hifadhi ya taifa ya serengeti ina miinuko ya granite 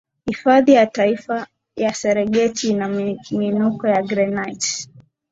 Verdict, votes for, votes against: rejected, 1, 2